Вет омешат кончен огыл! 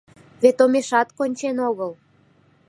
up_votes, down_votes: 2, 0